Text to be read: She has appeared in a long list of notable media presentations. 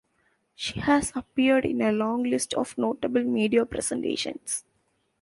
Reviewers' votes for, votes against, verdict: 2, 0, accepted